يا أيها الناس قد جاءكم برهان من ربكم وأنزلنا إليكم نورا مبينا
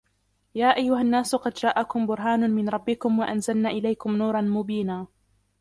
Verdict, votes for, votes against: rejected, 1, 2